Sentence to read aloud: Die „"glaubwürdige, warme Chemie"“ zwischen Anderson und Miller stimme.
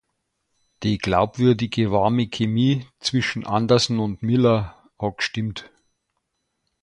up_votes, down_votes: 0, 2